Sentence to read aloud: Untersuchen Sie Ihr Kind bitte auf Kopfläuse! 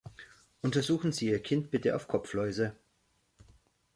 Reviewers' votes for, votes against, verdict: 2, 0, accepted